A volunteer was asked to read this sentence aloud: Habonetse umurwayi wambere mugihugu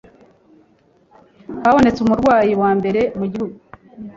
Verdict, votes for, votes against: accepted, 2, 0